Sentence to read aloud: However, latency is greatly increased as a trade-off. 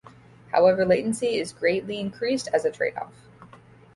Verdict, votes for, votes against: accepted, 2, 0